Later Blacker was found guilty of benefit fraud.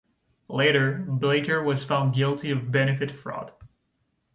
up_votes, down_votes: 2, 1